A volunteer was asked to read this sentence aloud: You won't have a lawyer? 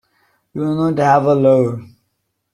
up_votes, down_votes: 1, 2